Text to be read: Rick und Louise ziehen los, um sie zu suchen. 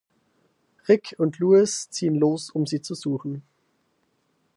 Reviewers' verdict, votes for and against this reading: rejected, 0, 4